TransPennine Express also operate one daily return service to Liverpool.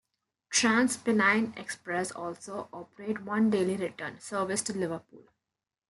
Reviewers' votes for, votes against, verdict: 1, 2, rejected